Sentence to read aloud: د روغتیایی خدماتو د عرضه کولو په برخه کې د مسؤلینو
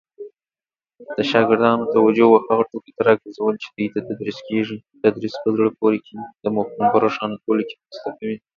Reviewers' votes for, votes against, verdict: 0, 2, rejected